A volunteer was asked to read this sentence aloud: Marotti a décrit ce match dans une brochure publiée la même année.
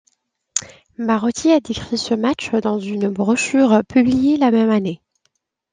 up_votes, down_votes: 2, 0